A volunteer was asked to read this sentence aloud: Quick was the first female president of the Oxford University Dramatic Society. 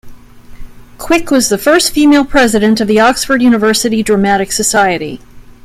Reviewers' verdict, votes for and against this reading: accepted, 2, 0